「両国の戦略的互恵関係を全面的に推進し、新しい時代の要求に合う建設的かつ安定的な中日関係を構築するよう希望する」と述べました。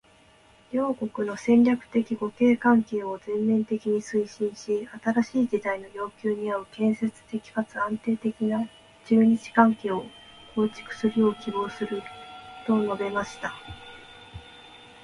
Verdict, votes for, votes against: rejected, 1, 2